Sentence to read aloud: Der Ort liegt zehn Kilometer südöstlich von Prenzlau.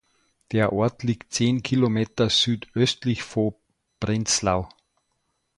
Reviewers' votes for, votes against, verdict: 0, 2, rejected